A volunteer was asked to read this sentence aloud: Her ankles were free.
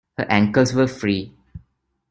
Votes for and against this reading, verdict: 1, 2, rejected